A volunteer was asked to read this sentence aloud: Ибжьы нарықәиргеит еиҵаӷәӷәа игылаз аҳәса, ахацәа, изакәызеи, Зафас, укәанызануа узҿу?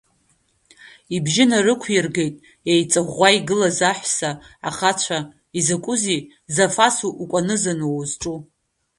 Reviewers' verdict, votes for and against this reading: accepted, 2, 1